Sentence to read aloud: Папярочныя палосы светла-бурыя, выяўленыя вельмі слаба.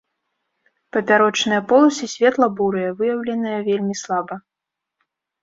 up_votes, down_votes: 0, 2